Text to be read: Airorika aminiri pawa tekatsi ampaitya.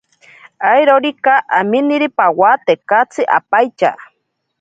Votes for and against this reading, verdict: 2, 0, accepted